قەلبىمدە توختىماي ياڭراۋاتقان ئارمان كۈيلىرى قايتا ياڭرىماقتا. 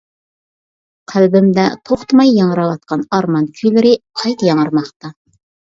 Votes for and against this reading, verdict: 2, 0, accepted